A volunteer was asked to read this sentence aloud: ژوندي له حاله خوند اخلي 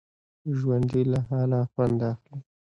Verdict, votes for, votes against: accepted, 2, 1